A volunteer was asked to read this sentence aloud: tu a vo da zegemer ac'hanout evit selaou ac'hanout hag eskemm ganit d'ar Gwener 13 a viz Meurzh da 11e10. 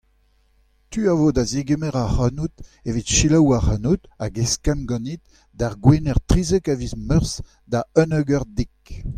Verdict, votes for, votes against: rejected, 0, 2